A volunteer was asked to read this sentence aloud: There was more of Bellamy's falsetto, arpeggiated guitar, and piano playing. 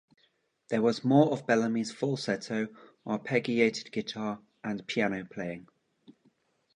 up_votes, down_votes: 0, 2